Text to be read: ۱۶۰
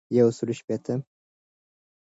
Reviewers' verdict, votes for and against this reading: rejected, 0, 2